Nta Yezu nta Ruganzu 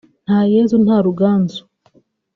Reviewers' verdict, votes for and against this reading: accepted, 2, 1